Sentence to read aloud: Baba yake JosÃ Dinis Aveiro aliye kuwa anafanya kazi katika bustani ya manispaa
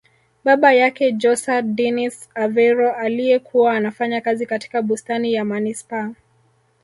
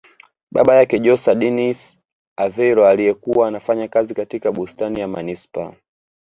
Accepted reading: first